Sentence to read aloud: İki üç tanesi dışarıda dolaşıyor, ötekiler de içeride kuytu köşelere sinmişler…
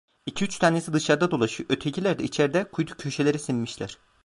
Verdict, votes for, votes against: rejected, 1, 2